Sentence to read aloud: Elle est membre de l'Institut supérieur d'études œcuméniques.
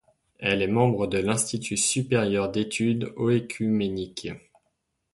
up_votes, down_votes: 0, 2